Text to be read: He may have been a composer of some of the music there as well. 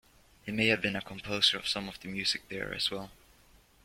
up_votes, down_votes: 2, 0